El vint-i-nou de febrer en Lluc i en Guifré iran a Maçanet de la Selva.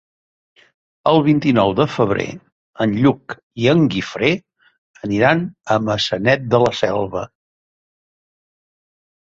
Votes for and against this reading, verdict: 0, 2, rejected